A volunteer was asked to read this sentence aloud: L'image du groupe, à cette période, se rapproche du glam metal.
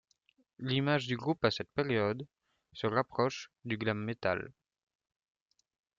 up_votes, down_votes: 1, 2